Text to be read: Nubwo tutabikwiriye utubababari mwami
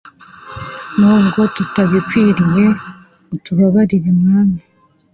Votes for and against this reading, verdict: 2, 1, accepted